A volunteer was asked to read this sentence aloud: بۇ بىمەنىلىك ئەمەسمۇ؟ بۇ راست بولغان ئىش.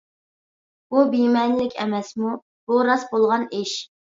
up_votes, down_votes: 2, 0